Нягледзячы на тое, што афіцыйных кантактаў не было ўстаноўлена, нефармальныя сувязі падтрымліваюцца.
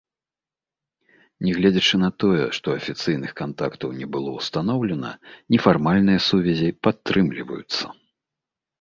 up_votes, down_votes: 2, 0